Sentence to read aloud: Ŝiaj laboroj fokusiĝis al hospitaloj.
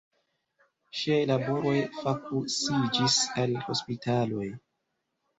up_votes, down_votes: 2, 0